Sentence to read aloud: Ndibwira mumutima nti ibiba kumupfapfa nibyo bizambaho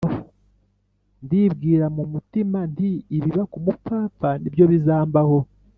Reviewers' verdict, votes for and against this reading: rejected, 1, 2